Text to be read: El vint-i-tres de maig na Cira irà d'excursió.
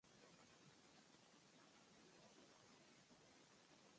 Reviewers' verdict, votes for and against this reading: rejected, 0, 2